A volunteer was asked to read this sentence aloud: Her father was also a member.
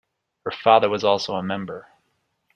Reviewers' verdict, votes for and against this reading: accepted, 2, 0